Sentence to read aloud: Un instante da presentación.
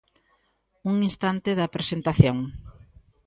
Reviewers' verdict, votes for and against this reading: accepted, 2, 0